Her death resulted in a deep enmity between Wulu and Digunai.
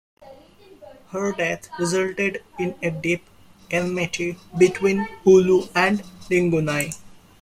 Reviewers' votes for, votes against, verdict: 1, 2, rejected